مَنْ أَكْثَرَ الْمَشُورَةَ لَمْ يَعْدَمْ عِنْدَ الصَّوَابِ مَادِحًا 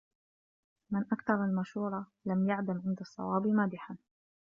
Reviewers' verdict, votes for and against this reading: rejected, 0, 2